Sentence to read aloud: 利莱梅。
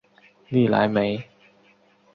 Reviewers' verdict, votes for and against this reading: accepted, 3, 0